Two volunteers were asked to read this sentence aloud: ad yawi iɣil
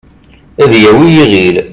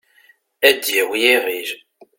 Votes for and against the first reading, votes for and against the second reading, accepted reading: 3, 0, 1, 2, first